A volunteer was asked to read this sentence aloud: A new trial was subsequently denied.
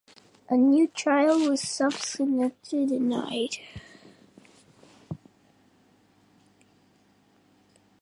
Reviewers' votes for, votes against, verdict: 1, 2, rejected